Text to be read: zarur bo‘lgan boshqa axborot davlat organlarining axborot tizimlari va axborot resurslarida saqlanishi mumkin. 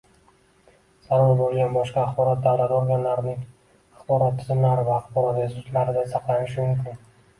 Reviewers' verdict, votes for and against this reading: accepted, 2, 1